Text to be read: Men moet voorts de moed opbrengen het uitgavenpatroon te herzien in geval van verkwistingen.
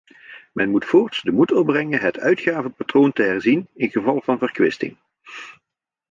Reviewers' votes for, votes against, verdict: 1, 2, rejected